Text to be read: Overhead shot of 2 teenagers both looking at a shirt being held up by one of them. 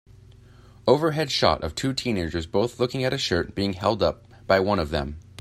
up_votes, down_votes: 0, 2